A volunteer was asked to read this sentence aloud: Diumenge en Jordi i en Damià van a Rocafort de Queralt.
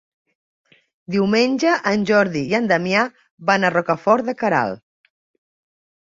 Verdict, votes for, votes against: accepted, 3, 0